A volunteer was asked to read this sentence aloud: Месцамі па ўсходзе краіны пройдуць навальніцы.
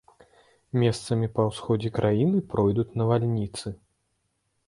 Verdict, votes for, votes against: rejected, 1, 2